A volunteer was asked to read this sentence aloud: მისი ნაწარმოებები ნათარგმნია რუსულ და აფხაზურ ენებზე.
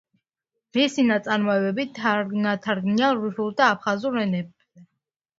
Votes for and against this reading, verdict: 0, 2, rejected